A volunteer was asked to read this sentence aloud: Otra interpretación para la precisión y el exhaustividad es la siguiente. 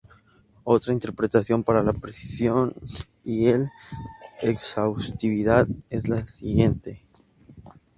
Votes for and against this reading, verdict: 2, 0, accepted